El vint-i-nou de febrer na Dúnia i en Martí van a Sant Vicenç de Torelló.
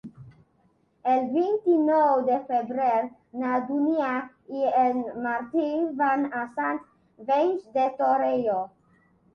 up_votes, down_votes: 1, 2